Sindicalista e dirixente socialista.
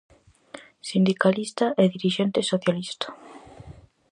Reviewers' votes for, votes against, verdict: 4, 0, accepted